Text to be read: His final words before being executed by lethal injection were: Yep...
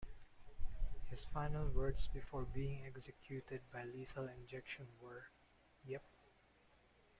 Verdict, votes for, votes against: rejected, 1, 2